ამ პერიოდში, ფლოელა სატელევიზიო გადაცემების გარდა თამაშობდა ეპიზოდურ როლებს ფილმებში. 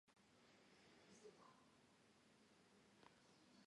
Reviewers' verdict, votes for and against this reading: rejected, 0, 2